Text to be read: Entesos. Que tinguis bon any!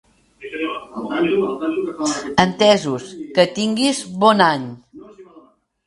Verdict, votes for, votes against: rejected, 0, 2